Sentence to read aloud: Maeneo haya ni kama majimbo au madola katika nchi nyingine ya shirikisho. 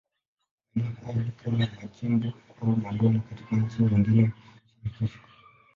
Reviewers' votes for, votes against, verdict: 0, 2, rejected